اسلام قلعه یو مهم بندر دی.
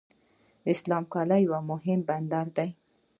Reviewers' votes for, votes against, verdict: 2, 1, accepted